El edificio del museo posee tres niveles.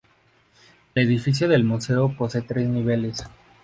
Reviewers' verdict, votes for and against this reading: accepted, 2, 0